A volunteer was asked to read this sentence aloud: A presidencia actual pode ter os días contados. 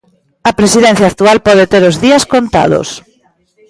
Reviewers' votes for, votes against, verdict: 0, 2, rejected